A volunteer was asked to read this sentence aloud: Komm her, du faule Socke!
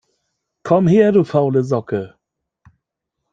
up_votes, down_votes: 1, 2